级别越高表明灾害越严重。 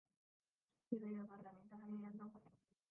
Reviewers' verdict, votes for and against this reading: rejected, 2, 3